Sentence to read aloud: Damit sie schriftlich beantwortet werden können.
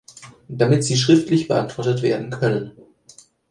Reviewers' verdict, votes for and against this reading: accepted, 2, 0